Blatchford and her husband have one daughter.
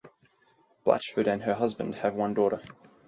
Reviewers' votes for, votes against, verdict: 0, 4, rejected